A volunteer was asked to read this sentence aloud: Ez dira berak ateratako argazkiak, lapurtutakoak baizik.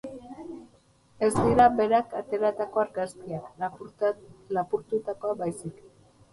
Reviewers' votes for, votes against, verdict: 0, 2, rejected